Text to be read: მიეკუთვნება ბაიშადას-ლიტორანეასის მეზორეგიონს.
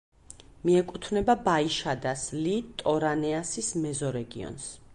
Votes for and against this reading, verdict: 2, 0, accepted